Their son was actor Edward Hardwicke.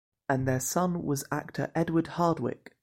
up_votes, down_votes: 1, 2